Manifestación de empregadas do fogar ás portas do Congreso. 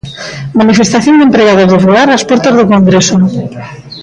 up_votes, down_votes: 1, 2